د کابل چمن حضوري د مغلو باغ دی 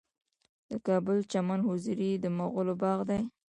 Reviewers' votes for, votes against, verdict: 2, 0, accepted